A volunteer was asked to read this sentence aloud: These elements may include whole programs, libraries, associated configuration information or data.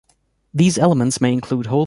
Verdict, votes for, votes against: rejected, 0, 2